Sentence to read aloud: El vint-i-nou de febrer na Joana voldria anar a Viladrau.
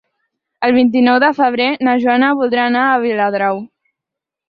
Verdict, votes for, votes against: accepted, 4, 2